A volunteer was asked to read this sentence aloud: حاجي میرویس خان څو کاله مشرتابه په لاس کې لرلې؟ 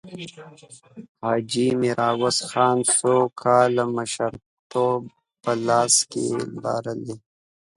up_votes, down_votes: 0, 2